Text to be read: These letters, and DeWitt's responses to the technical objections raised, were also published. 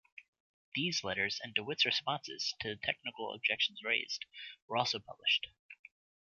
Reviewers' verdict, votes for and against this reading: rejected, 1, 2